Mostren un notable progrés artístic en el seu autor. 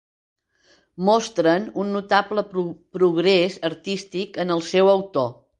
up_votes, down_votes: 1, 2